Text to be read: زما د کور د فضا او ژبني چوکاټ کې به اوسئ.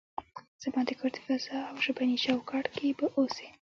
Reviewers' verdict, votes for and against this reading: accepted, 2, 0